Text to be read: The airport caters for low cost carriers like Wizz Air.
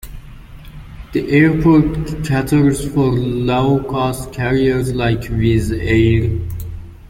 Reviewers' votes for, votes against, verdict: 2, 1, accepted